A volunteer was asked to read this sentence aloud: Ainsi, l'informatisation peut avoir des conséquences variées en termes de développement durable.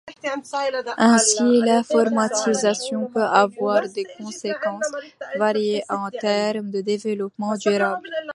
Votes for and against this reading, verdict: 1, 2, rejected